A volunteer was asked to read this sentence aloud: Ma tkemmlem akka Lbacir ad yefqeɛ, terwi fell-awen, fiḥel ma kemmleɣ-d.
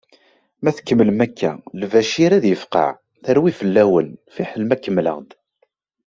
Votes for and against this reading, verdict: 2, 0, accepted